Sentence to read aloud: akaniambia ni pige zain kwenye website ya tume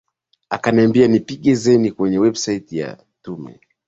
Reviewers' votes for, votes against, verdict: 2, 0, accepted